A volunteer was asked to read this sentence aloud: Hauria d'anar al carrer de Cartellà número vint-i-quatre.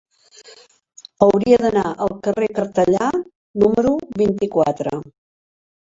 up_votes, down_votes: 1, 2